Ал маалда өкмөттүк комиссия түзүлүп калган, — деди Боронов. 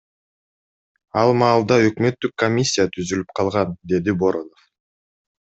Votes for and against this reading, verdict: 2, 0, accepted